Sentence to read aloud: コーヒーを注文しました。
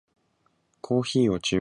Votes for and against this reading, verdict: 0, 2, rejected